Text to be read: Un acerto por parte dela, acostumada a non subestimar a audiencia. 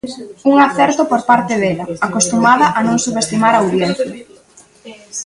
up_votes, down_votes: 0, 2